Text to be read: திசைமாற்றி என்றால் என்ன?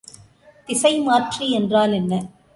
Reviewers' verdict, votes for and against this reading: accepted, 2, 0